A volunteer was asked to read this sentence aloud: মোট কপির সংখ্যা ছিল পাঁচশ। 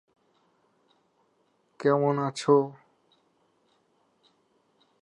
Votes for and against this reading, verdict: 0, 2, rejected